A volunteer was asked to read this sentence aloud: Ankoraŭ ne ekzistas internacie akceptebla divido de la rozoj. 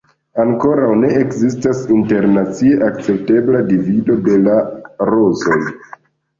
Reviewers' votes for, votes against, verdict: 2, 0, accepted